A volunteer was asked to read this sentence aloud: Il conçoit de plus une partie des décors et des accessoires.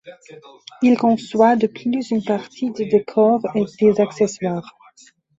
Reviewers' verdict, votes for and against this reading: rejected, 0, 2